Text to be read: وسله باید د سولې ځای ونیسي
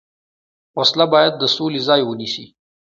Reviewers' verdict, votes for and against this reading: accepted, 2, 0